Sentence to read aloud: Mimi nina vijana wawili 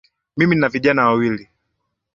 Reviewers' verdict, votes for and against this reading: accepted, 2, 1